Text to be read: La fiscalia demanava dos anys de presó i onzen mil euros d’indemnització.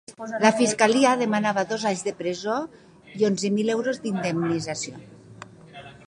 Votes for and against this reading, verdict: 2, 0, accepted